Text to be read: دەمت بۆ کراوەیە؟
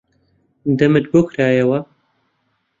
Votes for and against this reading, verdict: 1, 2, rejected